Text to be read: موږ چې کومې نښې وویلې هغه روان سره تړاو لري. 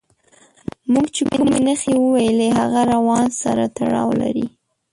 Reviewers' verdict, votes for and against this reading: rejected, 0, 2